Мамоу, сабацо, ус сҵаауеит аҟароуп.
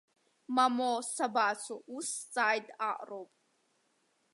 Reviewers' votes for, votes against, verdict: 1, 2, rejected